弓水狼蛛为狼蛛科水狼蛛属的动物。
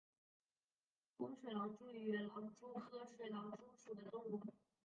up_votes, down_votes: 3, 4